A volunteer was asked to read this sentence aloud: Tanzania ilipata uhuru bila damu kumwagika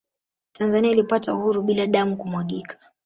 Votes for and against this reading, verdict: 0, 2, rejected